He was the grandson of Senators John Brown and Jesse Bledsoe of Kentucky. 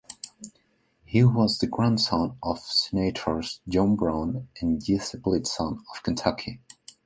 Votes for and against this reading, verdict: 0, 2, rejected